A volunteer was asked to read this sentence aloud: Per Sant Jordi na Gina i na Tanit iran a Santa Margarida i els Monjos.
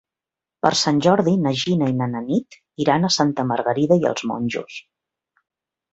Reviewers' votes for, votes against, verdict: 0, 2, rejected